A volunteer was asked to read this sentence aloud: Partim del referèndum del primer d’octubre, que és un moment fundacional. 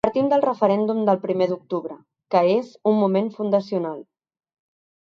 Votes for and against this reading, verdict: 3, 0, accepted